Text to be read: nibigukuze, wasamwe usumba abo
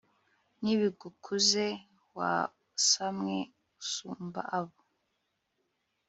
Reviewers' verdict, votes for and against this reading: accepted, 2, 0